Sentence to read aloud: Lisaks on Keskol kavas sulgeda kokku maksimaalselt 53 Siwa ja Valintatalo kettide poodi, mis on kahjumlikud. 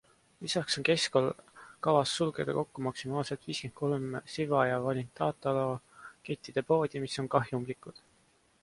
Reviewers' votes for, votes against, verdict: 0, 2, rejected